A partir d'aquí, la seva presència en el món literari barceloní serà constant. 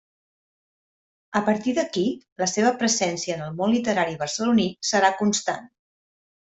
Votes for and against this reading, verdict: 1, 2, rejected